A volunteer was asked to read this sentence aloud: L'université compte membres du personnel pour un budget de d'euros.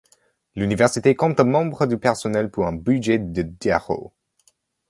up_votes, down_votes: 2, 0